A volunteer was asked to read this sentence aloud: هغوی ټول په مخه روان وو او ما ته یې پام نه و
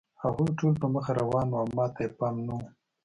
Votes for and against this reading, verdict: 2, 0, accepted